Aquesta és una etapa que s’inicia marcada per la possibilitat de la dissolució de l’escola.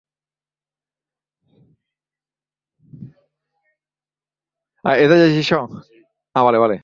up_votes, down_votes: 1, 2